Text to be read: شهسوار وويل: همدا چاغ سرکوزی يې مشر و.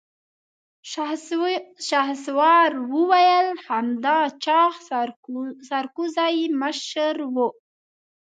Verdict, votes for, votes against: rejected, 1, 2